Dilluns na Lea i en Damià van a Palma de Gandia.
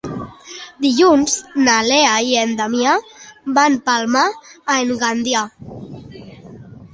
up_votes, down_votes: 0, 3